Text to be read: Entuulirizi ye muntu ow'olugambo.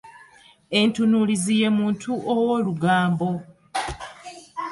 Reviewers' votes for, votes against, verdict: 1, 2, rejected